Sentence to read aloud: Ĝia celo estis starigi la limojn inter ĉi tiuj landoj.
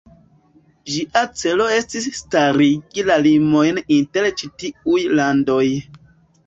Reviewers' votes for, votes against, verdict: 2, 1, accepted